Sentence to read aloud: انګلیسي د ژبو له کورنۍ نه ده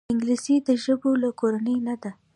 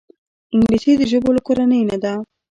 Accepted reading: first